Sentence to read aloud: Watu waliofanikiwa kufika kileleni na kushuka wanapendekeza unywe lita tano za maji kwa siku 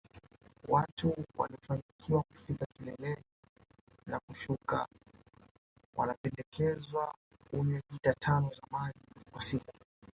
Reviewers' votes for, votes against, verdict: 0, 2, rejected